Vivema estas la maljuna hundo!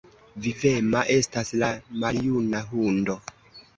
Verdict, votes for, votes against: accepted, 2, 1